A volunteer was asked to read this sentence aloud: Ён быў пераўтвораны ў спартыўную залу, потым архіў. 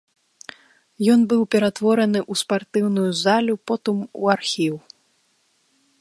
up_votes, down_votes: 0, 3